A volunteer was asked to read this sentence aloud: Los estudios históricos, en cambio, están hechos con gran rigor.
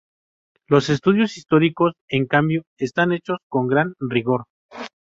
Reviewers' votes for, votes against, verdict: 2, 2, rejected